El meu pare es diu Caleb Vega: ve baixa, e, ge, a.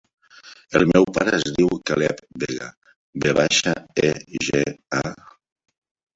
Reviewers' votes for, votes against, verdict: 1, 2, rejected